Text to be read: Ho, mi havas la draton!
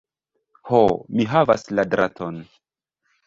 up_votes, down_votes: 2, 1